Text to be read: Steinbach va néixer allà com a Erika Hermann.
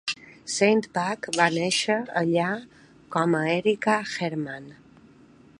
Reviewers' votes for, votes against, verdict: 3, 0, accepted